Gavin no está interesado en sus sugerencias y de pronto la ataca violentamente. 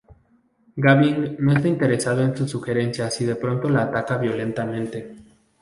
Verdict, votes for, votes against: rejected, 2, 2